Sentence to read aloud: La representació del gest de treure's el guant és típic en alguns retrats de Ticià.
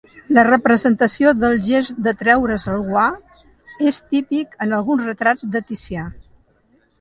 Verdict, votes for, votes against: accepted, 2, 1